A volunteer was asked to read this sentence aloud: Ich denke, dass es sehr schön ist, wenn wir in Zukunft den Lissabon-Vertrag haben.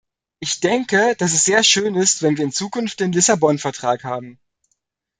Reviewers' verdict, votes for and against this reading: accepted, 2, 0